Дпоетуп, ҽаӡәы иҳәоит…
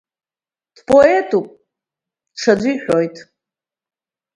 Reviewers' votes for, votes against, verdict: 2, 0, accepted